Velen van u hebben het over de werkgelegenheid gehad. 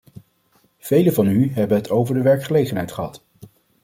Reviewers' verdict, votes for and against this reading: accepted, 2, 0